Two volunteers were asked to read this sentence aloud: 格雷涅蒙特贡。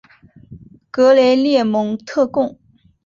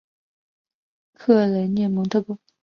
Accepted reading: first